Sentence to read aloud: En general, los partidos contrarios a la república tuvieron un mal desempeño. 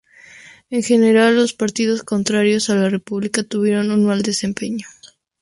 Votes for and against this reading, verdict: 2, 0, accepted